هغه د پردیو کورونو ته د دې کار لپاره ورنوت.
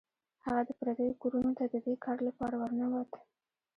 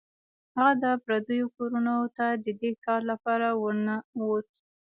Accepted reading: first